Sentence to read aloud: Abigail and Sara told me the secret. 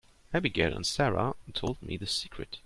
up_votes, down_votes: 2, 0